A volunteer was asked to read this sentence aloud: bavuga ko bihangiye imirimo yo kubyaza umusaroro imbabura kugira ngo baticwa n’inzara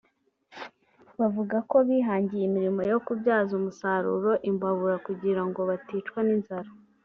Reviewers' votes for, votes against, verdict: 2, 0, accepted